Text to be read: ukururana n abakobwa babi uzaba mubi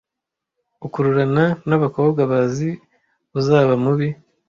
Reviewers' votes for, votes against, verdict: 0, 2, rejected